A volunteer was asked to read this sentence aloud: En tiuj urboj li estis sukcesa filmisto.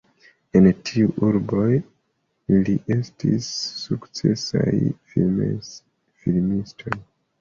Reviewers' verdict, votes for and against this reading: rejected, 0, 2